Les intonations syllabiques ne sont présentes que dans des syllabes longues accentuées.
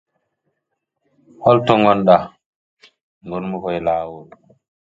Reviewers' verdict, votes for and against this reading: rejected, 0, 2